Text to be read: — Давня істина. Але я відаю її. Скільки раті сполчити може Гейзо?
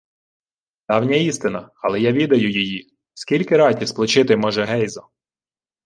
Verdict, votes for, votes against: rejected, 1, 2